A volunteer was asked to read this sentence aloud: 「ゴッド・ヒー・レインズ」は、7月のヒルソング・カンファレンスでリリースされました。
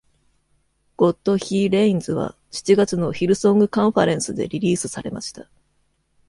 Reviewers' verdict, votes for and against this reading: rejected, 0, 2